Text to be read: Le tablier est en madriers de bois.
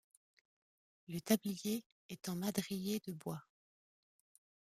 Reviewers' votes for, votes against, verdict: 2, 0, accepted